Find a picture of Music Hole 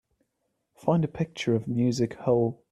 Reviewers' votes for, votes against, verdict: 2, 0, accepted